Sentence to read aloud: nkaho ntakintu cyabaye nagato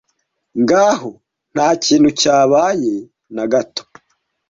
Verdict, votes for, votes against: accepted, 2, 0